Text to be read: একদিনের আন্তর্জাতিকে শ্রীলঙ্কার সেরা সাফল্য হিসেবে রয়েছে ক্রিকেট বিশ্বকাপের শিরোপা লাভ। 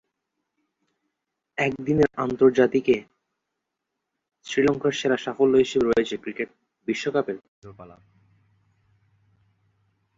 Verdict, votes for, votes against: rejected, 0, 2